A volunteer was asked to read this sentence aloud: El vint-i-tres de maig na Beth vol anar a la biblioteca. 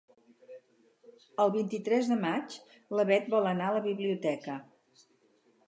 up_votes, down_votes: 0, 2